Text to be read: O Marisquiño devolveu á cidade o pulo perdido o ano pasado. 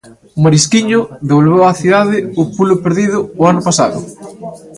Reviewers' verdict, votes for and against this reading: rejected, 1, 2